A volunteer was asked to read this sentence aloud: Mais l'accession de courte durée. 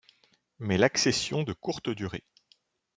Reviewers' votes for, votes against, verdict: 2, 0, accepted